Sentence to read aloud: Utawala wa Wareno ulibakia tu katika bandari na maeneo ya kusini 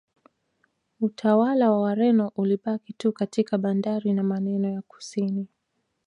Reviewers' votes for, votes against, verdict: 0, 2, rejected